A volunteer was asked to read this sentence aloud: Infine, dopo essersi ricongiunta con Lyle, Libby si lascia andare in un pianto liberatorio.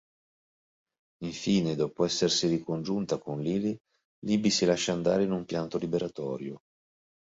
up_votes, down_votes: 2, 1